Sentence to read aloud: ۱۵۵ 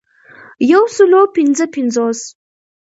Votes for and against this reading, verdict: 0, 2, rejected